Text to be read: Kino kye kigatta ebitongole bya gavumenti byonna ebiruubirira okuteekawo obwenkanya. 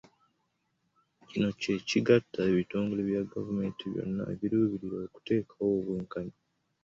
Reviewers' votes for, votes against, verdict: 3, 2, accepted